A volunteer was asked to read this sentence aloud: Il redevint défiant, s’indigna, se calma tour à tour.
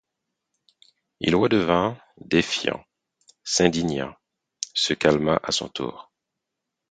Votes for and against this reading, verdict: 0, 4, rejected